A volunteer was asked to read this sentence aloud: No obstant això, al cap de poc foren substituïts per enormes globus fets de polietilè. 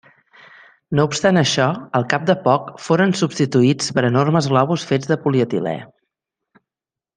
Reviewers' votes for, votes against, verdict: 3, 0, accepted